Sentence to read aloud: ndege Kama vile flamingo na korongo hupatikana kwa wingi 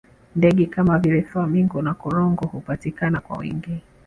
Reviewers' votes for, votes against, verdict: 3, 0, accepted